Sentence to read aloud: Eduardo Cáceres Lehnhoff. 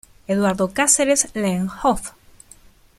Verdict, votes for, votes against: rejected, 0, 2